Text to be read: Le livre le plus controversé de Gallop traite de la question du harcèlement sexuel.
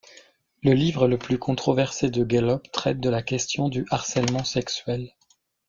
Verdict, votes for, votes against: accepted, 2, 0